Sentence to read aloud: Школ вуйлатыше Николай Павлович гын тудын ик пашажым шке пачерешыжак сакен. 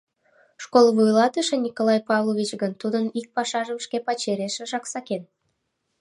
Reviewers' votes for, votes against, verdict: 2, 0, accepted